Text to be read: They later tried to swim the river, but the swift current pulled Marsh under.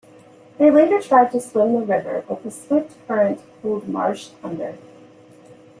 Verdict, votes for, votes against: accepted, 3, 0